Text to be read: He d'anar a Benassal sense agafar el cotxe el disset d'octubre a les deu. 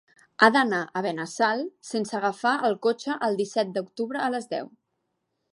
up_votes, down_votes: 1, 2